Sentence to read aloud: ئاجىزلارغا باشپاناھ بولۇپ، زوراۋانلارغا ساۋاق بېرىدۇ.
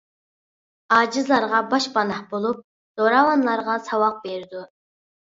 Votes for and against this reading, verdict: 2, 0, accepted